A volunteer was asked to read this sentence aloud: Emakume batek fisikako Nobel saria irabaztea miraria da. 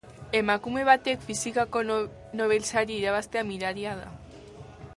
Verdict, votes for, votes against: rejected, 0, 2